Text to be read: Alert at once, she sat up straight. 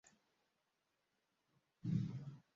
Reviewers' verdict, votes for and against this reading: rejected, 0, 2